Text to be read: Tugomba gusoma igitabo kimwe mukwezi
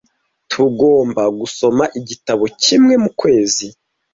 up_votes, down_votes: 2, 0